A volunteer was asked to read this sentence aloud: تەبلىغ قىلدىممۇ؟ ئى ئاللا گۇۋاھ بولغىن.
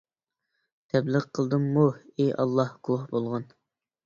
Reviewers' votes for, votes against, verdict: 1, 2, rejected